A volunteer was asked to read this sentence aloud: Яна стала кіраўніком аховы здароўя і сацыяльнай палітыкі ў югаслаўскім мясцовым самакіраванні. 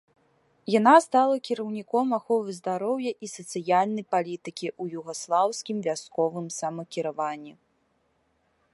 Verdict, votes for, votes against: rejected, 1, 2